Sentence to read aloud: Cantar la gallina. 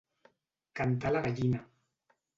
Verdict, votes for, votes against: accepted, 2, 0